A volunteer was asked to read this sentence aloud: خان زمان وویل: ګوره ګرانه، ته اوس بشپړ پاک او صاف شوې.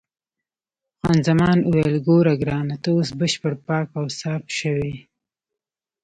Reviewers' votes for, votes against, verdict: 2, 0, accepted